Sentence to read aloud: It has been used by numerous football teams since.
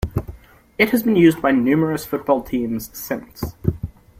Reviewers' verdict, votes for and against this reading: accepted, 2, 0